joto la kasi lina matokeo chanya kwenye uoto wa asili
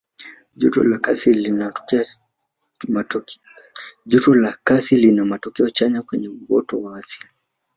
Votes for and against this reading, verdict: 1, 2, rejected